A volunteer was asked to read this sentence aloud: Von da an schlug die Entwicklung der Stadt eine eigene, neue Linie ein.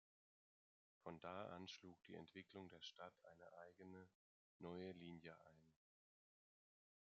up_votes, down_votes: 2, 0